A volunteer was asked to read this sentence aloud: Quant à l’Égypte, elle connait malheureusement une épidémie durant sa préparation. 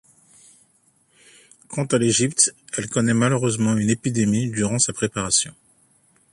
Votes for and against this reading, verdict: 2, 0, accepted